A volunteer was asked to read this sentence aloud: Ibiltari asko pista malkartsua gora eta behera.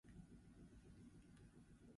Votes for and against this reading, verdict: 0, 4, rejected